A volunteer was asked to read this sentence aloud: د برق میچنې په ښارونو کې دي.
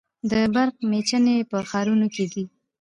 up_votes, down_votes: 1, 2